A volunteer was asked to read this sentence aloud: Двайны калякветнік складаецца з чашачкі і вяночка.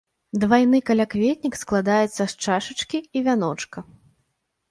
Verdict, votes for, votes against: accepted, 2, 0